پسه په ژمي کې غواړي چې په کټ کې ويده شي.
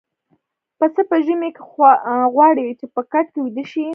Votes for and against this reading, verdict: 2, 0, accepted